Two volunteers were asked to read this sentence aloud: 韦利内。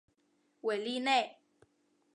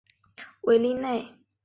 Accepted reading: second